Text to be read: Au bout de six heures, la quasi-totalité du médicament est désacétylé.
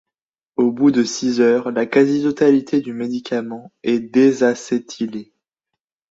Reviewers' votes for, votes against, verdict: 1, 2, rejected